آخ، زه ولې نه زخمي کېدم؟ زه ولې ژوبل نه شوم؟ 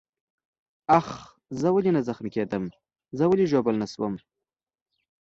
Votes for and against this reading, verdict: 2, 0, accepted